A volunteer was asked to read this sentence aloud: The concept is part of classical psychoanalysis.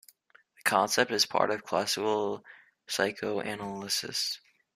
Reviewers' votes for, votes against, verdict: 0, 3, rejected